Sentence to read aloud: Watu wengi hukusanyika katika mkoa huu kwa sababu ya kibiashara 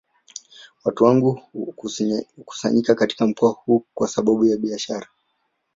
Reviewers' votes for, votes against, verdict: 2, 1, accepted